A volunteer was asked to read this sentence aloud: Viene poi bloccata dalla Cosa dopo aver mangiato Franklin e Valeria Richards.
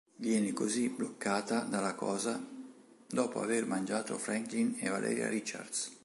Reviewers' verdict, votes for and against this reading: rejected, 4, 5